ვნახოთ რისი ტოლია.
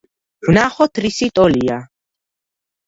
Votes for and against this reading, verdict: 2, 0, accepted